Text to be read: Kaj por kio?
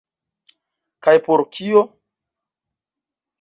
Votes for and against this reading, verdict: 1, 2, rejected